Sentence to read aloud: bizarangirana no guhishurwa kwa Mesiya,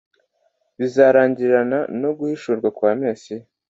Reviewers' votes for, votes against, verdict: 2, 0, accepted